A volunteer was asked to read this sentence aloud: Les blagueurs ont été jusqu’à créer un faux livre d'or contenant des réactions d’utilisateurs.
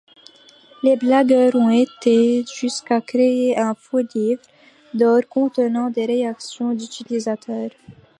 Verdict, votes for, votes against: accepted, 2, 0